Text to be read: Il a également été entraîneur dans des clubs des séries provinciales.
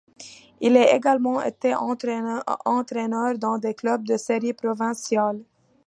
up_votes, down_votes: 1, 2